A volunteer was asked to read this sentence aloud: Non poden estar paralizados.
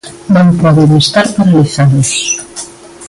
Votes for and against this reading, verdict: 1, 2, rejected